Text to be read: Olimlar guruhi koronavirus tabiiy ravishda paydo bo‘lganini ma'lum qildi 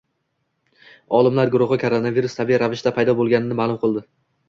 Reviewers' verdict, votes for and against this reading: accepted, 2, 0